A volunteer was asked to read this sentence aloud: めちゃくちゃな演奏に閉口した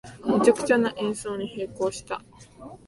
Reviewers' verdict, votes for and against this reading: rejected, 1, 2